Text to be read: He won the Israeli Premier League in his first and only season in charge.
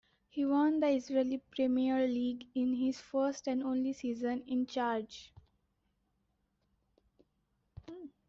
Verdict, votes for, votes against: accepted, 2, 0